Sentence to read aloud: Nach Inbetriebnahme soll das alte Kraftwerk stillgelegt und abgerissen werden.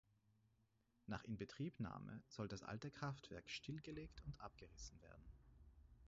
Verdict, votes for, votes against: rejected, 2, 4